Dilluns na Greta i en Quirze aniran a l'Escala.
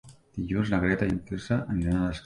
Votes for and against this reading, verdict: 0, 2, rejected